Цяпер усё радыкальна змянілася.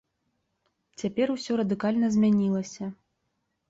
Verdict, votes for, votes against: accepted, 3, 0